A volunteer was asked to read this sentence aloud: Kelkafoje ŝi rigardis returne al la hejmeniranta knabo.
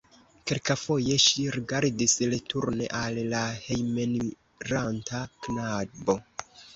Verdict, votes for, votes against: rejected, 1, 2